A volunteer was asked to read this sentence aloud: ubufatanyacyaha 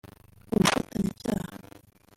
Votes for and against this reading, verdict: 0, 2, rejected